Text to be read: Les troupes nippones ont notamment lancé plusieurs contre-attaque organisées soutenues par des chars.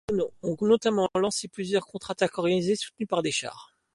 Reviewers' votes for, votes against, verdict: 1, 2, rejected